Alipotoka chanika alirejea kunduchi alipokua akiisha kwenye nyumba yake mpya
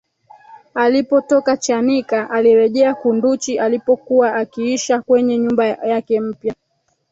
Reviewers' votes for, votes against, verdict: 1, 3, rejected